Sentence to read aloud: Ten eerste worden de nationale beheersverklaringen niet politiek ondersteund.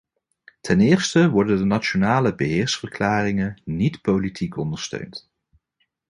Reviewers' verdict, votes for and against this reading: accepted, 2, 0